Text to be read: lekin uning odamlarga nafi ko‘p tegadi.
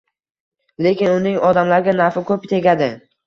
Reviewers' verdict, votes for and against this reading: accepted, 2, 1